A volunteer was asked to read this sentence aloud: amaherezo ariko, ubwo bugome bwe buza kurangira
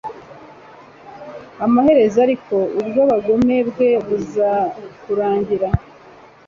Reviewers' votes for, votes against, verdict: 1, 2, rejected